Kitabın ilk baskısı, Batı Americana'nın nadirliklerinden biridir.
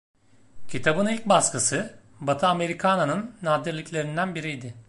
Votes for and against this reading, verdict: 1, 2, rejected